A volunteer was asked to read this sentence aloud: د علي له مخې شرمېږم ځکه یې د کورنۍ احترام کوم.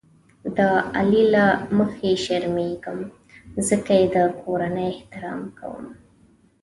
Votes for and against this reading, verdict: 2, 0, accepted